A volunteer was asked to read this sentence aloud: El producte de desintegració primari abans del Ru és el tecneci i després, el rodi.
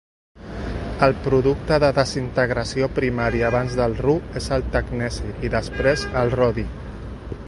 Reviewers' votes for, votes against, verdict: 2, 1, accepted